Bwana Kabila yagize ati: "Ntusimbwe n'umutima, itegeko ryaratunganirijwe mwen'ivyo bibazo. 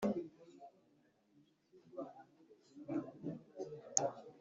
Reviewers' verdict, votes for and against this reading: rejected, 1, 2